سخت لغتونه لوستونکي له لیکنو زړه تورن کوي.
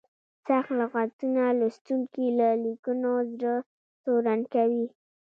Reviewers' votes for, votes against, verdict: 2, 0, accepted